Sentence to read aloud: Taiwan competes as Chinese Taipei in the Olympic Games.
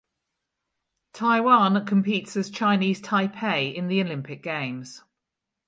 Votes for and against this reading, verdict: 2, 2, rejected